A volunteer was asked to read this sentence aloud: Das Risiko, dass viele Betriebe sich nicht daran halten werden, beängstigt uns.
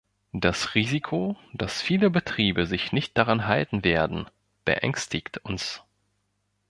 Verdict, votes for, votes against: accepted, 2, 0